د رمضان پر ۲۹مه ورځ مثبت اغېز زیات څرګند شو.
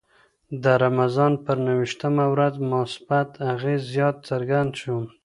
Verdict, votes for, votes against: rejected, 0, 2